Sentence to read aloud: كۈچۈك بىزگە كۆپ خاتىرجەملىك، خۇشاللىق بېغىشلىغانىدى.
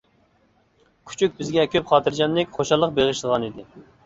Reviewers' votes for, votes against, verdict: 2, 0, accepted